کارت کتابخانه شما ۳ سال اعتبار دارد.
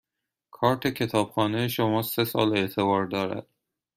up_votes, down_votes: 0, 2